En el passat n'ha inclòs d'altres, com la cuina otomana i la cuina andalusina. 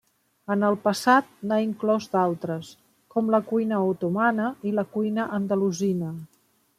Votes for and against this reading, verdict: 3, 0, accepted